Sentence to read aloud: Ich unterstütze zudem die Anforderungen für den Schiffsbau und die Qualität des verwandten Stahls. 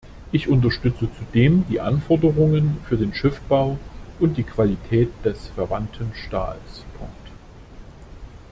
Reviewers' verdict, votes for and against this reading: rejected, 0, 2